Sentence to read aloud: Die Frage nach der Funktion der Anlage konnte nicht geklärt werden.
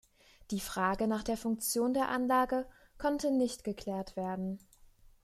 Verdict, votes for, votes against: accepted, 2, 0